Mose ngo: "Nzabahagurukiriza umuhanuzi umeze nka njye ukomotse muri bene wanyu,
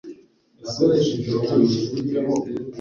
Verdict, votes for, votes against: rejected, 1, 2